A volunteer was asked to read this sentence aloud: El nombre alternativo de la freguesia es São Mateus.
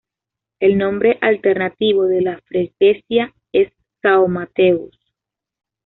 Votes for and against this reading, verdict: 1, 2, rejected